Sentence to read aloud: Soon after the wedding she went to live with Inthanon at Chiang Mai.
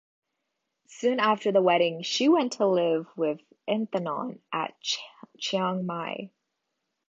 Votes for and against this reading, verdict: 1, 2, rejected